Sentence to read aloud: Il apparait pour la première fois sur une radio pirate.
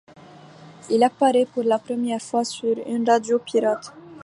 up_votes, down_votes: 2, 0